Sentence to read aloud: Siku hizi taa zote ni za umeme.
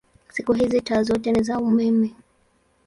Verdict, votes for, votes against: accepted, 2, 0